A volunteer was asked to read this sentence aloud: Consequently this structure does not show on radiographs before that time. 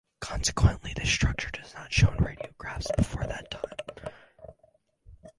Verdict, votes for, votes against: rejected, 2, 4